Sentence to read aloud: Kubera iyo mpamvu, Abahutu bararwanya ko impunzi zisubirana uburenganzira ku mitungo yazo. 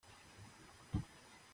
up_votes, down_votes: 0, 2